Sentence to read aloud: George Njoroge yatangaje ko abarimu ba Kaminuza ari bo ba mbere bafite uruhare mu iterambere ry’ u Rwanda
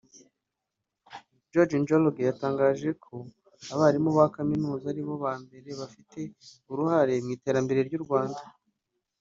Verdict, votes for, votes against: accepted, 2, 0